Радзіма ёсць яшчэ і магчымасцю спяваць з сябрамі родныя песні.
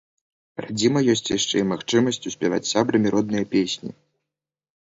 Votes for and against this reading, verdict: 2, 0, accepted